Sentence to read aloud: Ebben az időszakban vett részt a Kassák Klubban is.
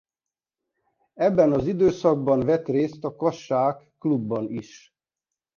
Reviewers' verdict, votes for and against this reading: rejected, 1, 2